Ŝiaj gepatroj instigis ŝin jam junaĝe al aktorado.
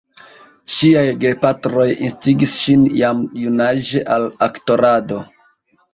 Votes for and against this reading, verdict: 1, 2, rejected